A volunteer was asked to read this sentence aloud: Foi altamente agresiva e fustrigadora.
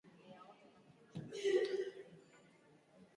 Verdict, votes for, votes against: rejected, 0, 4